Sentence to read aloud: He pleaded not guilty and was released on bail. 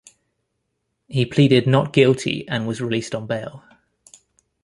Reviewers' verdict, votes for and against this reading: accepted, 2, 0